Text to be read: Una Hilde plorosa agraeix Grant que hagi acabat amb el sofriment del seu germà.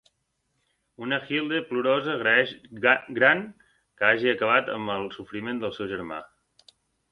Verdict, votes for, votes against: rejected, 0, 2